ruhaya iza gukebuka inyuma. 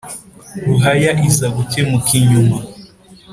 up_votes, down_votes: 2, 0